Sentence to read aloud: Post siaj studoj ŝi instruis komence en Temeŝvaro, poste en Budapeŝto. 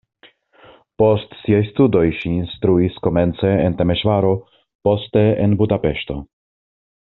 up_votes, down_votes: 2, 0